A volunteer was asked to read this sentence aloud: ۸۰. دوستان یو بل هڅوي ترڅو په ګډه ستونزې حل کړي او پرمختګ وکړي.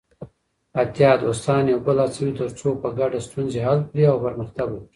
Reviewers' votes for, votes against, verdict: 0, 2, rejected